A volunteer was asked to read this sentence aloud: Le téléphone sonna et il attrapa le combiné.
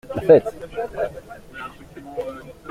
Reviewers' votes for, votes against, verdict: 0, 2, rejected